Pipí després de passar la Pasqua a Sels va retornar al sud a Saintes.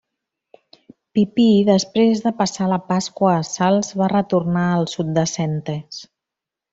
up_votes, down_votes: 1, 2